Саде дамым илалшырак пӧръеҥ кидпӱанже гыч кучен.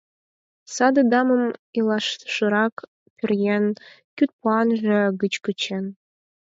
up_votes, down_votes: 4, 2